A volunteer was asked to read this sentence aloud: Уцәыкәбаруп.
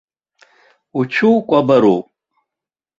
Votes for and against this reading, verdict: 0, 2, rejected